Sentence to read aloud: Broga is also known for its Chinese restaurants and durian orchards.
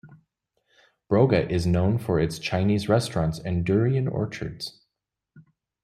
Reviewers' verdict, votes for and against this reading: rejected, 0, 2